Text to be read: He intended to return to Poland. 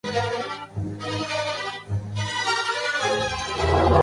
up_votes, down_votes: 0, 4